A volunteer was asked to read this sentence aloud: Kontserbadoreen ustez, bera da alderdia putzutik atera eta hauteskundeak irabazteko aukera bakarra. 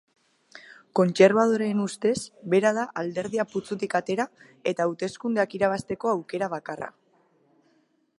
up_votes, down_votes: 2, 0